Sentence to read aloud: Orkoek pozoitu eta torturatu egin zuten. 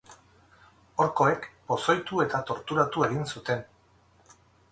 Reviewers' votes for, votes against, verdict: 8, 0, accepted